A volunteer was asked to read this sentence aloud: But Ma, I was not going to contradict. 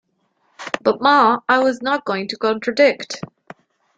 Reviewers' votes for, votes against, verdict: 2, 0, accepted